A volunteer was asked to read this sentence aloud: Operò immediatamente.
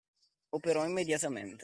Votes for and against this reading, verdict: 2, 1, accepted